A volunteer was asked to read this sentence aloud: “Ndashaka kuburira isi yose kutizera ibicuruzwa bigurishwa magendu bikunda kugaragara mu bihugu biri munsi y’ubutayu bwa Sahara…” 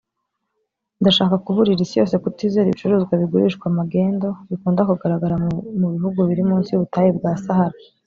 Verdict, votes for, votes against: rejected, 1, 2